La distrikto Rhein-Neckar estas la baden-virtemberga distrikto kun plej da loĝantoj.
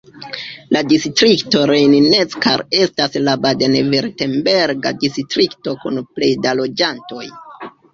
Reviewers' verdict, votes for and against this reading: rejected, 1, 2